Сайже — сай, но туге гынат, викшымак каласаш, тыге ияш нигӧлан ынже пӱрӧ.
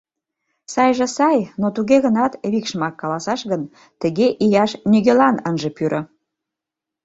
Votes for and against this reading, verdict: 1, 2, rejected